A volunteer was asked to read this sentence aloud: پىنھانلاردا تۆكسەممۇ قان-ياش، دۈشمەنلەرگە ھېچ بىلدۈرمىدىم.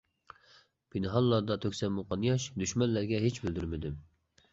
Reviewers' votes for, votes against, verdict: 2, 0, accepted